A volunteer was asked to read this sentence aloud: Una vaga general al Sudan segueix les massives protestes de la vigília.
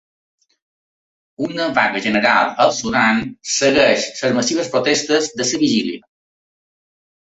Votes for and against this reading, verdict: 2, 1, accepted